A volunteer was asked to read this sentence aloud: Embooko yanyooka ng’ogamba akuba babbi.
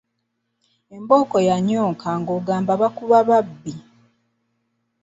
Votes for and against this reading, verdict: 1, 2, rejected